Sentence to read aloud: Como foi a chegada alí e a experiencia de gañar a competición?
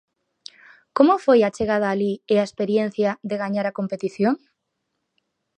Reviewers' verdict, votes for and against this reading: accepted, 4, 0